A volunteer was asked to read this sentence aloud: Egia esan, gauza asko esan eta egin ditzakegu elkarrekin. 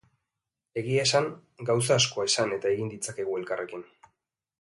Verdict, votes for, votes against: accepted, 2, 0